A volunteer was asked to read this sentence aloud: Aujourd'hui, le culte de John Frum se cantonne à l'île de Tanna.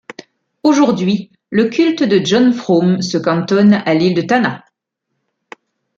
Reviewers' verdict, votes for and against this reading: accepted, 2, 0